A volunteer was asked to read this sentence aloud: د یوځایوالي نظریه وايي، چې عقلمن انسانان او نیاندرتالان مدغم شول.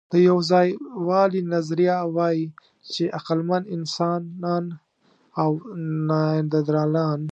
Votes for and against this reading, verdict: 0, 2, rejected